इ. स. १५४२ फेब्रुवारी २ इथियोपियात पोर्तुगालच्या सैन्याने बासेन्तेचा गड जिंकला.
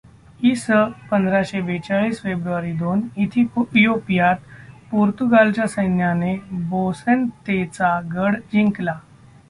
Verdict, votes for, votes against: rejected, 0, 2